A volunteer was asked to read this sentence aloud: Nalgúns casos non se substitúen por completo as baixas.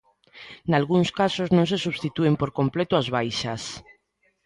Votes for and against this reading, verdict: 2, 0, accepted